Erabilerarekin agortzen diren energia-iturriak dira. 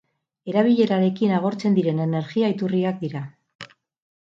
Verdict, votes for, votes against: accepted, 4, 0